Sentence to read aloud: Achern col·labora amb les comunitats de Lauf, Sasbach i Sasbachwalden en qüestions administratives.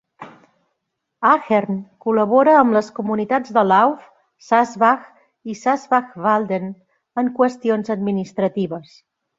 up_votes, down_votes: 2, 0